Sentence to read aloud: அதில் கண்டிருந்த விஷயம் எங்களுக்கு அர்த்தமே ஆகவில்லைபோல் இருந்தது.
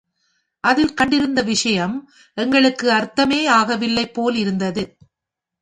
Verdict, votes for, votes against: accepted, 2, 0